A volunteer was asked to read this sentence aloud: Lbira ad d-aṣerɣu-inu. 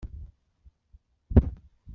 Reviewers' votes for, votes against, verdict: 1, 2, rejected